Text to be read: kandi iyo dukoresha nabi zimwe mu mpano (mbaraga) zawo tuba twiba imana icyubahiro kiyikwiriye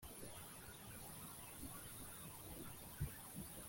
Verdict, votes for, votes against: rejected, 1, 2